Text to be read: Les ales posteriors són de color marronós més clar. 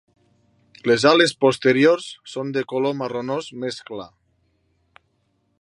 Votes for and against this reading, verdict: 2, 0, accepted